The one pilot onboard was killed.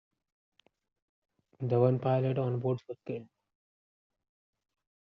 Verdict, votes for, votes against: accepted, 2, 0